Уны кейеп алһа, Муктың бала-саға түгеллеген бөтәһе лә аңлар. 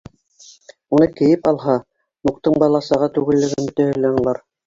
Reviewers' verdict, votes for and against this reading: accepted, 2, 1